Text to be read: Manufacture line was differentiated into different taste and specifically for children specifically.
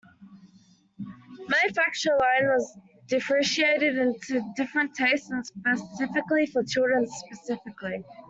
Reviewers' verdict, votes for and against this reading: rejected, 1, 2